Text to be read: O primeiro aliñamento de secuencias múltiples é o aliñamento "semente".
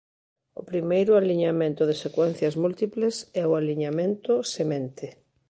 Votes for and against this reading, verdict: 0, 2, rejected